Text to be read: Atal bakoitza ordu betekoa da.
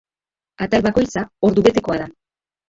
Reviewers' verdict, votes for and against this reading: rejected, 0, 2